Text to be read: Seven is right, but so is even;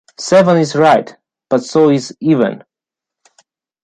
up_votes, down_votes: 2, 0